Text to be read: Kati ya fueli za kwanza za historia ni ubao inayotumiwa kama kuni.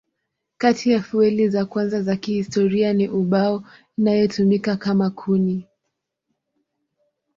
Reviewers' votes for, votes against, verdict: 1, 4, rejected